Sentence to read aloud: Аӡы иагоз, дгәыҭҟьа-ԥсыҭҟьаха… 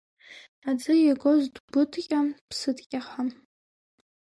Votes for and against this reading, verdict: 0, 2, rejected